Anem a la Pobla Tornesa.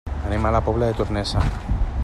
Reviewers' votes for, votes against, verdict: 1, 2, rejected